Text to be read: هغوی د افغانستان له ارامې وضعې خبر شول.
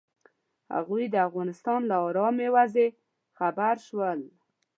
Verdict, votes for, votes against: accepted, 2, 0